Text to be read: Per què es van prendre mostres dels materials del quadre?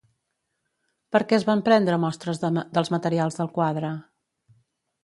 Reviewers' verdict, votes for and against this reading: rejected, 0, 2